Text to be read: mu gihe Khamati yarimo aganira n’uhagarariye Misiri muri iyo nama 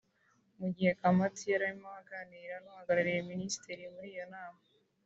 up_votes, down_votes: 1, 2